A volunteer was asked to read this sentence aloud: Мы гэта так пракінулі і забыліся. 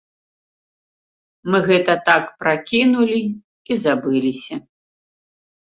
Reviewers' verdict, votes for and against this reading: accepted, 2, 0